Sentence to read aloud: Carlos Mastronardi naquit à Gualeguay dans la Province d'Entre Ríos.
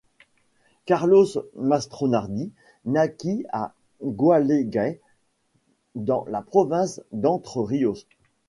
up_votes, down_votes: 2, 0